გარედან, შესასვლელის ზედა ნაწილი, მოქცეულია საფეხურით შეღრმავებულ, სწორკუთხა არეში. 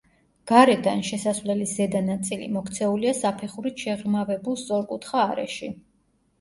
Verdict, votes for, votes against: accepted, 2, 0